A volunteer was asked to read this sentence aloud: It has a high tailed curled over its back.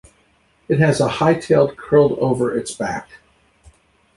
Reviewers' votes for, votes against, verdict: 2, 0, accepted